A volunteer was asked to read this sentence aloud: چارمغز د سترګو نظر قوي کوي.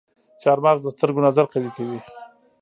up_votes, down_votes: 2, 1